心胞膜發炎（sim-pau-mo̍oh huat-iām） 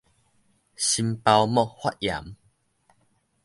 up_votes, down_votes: 1, 2